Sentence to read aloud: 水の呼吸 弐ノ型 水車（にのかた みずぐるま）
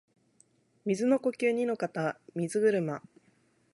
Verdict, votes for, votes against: rejected, 0, 2